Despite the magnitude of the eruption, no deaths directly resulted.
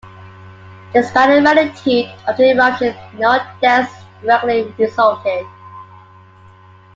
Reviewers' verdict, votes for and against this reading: accepted, 2, 0